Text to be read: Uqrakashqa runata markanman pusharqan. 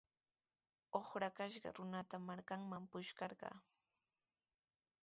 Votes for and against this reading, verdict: 2, 2, rejected